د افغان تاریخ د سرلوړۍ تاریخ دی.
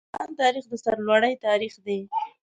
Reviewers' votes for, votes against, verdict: 1, 2, rejected